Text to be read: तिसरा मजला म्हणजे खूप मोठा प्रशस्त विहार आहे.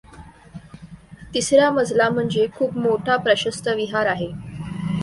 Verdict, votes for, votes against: accepted, 2, 0